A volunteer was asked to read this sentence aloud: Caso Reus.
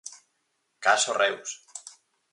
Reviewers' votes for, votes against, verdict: 4, 0, accepted